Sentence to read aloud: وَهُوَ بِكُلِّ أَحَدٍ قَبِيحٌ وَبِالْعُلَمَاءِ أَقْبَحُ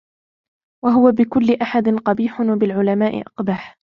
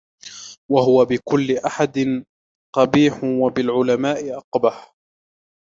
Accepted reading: first